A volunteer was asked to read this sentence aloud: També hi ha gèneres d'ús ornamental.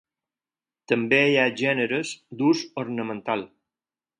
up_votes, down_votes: 4, 0